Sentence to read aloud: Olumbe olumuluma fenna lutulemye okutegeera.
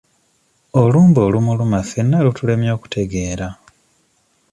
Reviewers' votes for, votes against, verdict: 2, 0, accepted